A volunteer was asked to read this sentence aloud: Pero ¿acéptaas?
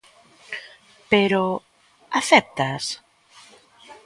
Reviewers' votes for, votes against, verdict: 2, 0, accepted